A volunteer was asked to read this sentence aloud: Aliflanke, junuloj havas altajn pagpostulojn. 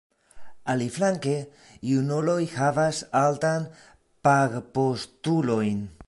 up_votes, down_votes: 1, 2